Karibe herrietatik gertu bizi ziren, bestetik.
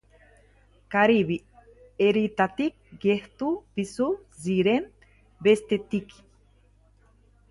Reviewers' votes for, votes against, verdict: 0, 2, rejected